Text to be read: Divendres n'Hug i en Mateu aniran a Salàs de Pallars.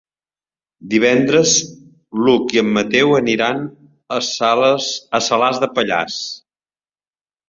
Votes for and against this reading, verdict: 0, 2, rejected